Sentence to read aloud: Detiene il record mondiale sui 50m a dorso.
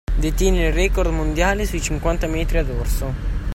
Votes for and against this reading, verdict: 0, 2, rejected